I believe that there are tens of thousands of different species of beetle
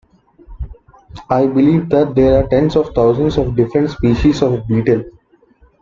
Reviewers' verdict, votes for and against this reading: accepted, 2, 0